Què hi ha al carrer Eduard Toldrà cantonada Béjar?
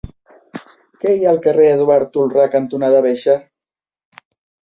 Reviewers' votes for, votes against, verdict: 0, 2, rejected